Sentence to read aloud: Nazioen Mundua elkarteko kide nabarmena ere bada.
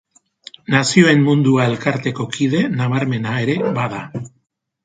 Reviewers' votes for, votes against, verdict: 2, 0, accepted